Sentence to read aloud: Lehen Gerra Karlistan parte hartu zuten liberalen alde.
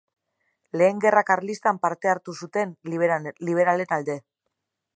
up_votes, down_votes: 1, 3